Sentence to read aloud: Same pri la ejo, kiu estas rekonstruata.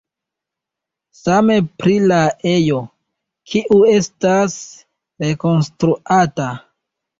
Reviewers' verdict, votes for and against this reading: rejected, 1, 2